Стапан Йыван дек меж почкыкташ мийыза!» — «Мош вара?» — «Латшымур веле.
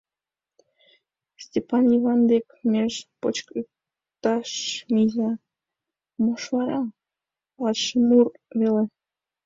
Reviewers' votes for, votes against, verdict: 1, 2, rejected